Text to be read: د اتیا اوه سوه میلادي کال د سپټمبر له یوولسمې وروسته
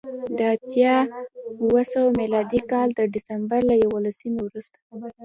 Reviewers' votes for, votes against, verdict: 2, 0, accepted